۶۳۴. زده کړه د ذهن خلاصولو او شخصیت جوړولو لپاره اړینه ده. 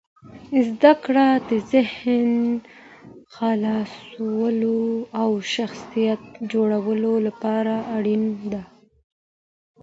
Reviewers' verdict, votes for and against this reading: rejected, 0, 2